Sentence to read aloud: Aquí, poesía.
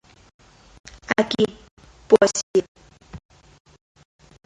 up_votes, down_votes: 0, 2